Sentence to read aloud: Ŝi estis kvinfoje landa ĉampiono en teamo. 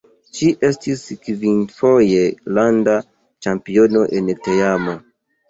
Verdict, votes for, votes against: rejected, 1, 2